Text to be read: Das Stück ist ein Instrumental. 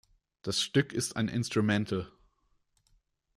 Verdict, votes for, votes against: rejected, 1, 2